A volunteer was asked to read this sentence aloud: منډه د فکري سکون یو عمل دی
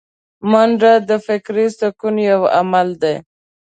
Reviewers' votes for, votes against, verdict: 2, 0, accepted